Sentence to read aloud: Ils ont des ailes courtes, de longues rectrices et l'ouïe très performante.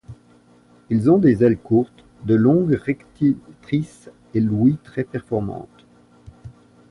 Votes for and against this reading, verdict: 1, 2, rejected